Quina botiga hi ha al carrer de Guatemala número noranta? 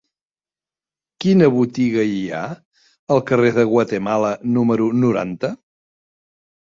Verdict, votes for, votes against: accepted, 3, 0